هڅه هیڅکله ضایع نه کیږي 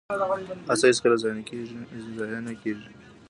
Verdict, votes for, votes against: rejected, 2, 3